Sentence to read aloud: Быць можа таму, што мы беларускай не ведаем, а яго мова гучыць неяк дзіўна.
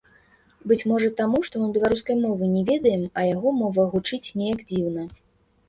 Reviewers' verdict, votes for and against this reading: accepted, 2, 1